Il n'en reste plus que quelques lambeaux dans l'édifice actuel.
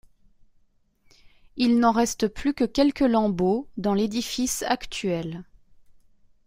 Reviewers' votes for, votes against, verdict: 2, 0, accepted